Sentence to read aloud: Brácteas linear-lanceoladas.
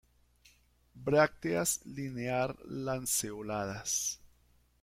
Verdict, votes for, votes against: accepted, 2, 1